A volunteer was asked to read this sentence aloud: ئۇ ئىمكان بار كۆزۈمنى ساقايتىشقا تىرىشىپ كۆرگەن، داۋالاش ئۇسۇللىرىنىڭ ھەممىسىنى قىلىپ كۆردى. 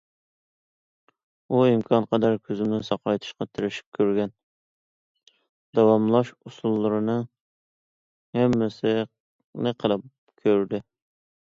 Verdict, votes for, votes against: rejected, 0, 2